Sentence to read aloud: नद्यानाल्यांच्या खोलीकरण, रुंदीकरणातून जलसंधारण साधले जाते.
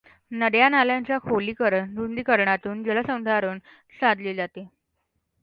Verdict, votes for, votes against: accepted, 2, 0